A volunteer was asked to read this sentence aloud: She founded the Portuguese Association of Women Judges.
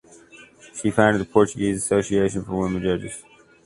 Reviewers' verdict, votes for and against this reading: rejected, 1, 2